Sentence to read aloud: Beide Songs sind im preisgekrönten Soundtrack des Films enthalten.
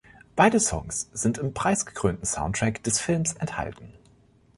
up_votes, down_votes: 2, 0